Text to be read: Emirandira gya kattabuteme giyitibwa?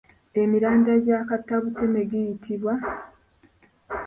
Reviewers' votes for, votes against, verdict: 2, 1, accepted